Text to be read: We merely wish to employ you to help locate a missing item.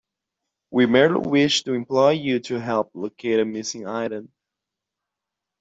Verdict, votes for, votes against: accepted, 2, 1